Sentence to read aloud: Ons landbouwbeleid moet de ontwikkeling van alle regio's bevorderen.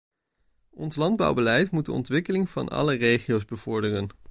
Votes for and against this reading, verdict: 2, 0, accepted